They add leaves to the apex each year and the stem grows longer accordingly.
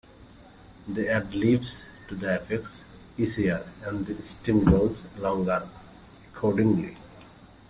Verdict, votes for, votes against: rejected, 1, 2